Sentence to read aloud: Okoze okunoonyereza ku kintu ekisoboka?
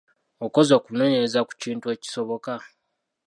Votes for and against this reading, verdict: 2, 0, accepted